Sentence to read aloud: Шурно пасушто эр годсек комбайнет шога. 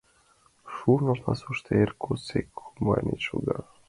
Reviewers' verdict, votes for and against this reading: accepted, 2, 0